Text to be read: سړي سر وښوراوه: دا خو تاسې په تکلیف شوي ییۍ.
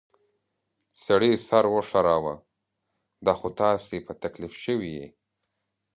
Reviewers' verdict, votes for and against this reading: accepted, 2, 0